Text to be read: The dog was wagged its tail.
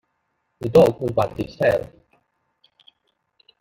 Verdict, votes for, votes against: rejected, 0, 2